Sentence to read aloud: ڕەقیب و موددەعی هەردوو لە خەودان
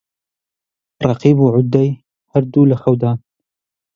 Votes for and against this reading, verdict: 0, 2, rejected